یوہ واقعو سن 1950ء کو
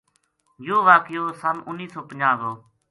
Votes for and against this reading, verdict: 0, 2, rejected